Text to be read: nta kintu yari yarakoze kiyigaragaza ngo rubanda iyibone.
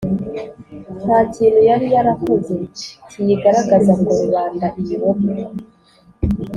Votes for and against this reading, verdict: 4, 0, accepted